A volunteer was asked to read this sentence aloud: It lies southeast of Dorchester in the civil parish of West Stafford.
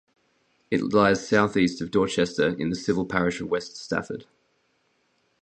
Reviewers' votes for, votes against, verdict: 0, 2, rejected